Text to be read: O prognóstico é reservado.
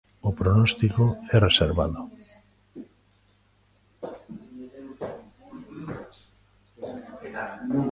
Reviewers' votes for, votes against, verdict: 0, 2, rejected